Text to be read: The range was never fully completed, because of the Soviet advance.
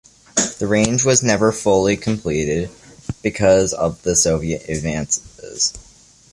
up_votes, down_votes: 0, 2